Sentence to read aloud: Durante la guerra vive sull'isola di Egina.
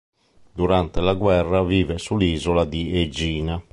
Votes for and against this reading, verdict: 2, 0, accepted